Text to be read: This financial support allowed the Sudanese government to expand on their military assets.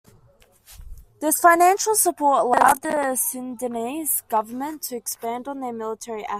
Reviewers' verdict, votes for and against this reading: rejected, 0, 2